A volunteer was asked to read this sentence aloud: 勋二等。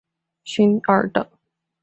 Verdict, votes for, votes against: rejected, 1, 2